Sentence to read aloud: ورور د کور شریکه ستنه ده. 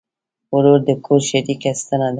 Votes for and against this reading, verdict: 0, 2, rejected